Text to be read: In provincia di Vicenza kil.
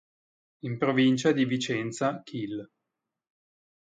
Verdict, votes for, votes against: accepted, 2, 0